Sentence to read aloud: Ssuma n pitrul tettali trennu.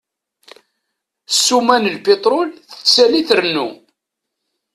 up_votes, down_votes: 1, 2